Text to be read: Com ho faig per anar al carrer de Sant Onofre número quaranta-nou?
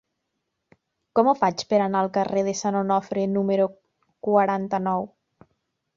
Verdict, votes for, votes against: accepted, 3, 0